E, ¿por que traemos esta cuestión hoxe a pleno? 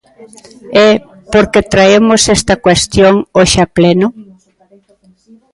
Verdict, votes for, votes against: accepted, 2, 1